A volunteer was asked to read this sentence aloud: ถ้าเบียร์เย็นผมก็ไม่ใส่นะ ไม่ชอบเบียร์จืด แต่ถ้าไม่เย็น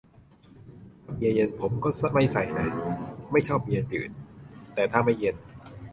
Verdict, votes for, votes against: rejected, 0, 2